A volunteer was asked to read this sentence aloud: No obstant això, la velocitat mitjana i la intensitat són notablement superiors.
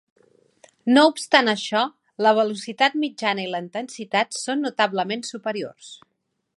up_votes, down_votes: 0, 2